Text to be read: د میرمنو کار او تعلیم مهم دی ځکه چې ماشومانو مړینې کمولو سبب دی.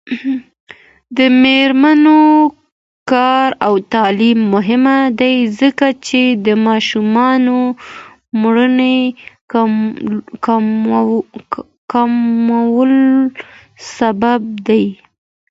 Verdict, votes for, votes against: accepted, 2, 0